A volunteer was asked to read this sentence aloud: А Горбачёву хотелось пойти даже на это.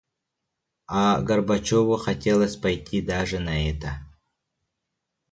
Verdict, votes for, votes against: rejected, 1, 2